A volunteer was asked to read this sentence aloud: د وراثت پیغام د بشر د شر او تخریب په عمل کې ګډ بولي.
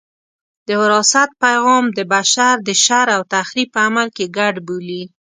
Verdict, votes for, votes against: accepted, 2, 0